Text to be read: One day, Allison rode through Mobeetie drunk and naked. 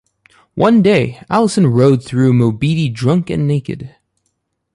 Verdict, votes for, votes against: accepted, 2, 0